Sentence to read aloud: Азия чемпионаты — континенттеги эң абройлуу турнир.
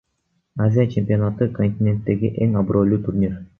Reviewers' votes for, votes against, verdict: 1, 2, rejected